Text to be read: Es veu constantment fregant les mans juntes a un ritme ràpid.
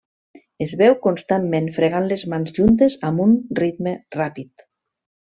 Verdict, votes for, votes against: rejected, 1, 2